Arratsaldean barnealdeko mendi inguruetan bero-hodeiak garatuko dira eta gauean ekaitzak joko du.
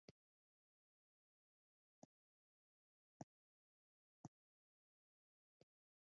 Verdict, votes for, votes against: rejected, 0, 2